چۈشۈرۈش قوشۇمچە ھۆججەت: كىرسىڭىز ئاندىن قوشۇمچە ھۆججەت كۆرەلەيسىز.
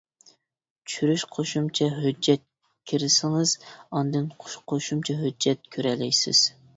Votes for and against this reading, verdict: 0, 2, rejected